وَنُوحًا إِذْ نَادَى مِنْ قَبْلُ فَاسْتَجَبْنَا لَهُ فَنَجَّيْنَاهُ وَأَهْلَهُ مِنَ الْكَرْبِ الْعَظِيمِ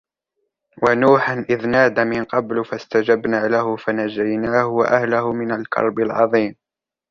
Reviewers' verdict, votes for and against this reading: accepted, 2, 0